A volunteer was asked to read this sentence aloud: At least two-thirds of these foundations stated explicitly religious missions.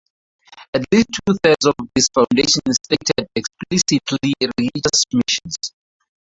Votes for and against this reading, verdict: 0, 4, rejected